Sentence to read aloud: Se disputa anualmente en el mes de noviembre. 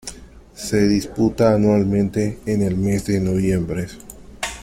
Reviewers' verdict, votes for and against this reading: rejected, 0, 2